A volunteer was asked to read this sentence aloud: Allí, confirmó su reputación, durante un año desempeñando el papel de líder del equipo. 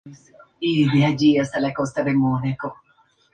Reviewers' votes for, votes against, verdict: 0, 2, rejected